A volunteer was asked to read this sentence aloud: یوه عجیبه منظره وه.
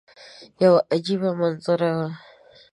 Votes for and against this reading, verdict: 2, 0, accepted